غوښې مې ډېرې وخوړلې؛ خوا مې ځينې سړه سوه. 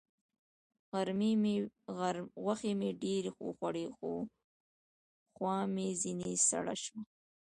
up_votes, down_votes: 0, 2